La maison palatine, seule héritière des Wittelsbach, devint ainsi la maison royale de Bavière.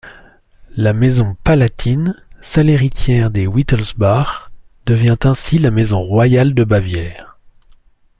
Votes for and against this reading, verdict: 2, 0, accepted